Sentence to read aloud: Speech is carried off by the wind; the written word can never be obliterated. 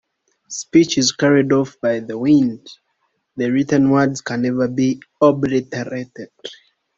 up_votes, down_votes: 2, 0